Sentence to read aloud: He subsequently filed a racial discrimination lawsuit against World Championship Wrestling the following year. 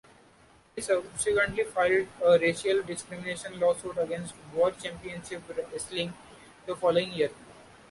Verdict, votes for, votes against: accepted, 2, 0